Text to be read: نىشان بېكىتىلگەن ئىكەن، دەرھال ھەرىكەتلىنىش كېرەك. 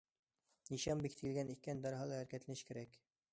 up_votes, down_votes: 2, 1